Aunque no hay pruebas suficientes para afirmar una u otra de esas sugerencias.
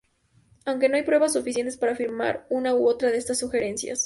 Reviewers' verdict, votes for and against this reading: accepted, 2, 0